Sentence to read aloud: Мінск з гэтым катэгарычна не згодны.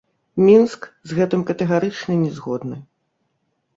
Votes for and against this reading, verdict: 0, 2, rejected